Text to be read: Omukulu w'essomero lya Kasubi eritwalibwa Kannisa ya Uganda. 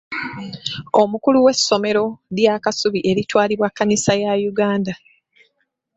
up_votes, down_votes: 2, 0